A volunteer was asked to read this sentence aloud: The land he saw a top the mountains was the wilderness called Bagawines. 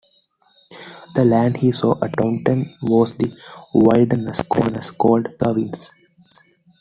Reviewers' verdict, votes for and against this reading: rejected, 0, 2